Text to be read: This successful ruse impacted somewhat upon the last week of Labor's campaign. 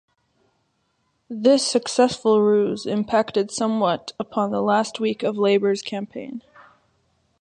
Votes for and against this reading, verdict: 2, 0, accepted